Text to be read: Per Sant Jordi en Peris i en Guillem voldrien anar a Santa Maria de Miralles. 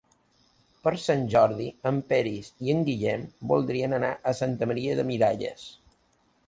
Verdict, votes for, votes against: accepted, 2, 0